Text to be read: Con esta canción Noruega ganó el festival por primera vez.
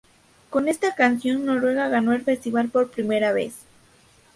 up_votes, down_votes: 2, 0